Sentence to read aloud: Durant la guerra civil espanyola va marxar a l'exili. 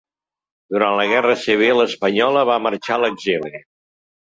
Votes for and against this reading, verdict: 2, 0, accepted